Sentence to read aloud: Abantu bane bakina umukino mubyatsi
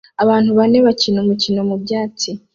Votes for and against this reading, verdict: 2, 0, accepted